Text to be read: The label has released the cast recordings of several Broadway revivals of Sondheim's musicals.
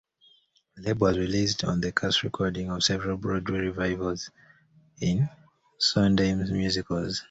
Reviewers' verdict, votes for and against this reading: accepted, 2, 0